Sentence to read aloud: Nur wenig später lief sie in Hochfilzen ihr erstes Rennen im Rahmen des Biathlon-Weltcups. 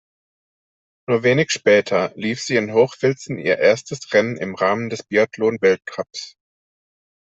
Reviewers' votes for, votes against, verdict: 2, 0, accepted